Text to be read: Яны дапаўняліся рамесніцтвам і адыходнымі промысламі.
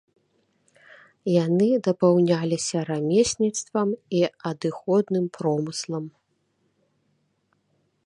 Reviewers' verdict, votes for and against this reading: rejected, 0, 2